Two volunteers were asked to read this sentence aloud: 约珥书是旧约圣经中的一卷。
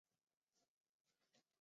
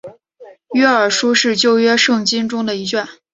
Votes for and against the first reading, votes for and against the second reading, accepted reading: 2, 5, 3, 0, second